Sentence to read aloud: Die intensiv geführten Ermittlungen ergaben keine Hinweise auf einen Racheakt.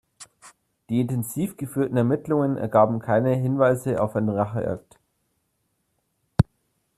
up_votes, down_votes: 1, 2